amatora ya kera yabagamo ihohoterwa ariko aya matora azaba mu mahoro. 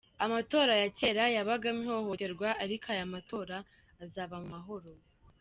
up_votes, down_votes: 2, 1